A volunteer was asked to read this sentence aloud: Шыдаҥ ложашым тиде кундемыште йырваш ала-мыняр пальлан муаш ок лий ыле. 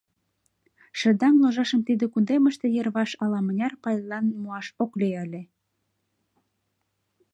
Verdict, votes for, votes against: accepted, 2, 0